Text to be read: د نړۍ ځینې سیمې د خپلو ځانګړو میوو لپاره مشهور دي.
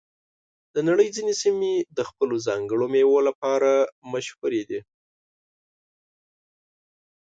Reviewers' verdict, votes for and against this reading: accepted, 2, 0